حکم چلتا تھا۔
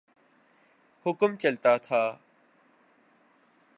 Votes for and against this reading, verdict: 4, 0, accepted